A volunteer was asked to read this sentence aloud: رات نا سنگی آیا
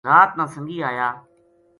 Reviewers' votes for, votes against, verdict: 2, 0, accepted